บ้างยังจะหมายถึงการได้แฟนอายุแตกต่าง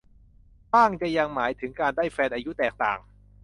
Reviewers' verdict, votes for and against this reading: rejected, 1, 2